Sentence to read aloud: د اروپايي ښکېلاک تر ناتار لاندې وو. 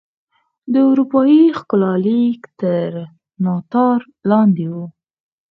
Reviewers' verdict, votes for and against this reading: rejected, 0, 4